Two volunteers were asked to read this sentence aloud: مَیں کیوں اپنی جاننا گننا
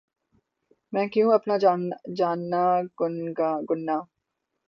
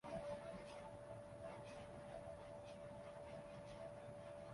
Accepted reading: first